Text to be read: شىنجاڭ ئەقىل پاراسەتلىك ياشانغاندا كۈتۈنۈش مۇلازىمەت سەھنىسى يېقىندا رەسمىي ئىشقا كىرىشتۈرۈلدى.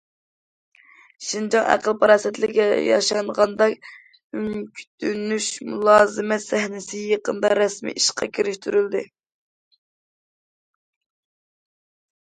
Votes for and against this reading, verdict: 0, 2, rejected